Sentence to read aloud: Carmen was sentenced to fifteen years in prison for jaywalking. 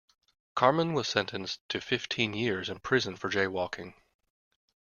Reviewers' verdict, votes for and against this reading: accepted, 2, 0